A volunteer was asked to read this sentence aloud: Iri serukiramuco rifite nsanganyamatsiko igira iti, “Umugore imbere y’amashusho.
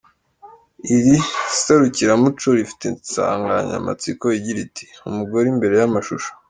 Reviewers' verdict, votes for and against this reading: accepted, 2, 1